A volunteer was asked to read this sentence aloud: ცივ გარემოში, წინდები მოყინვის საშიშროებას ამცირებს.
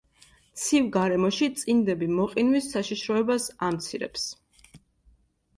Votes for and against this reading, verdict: 2, 0, accepted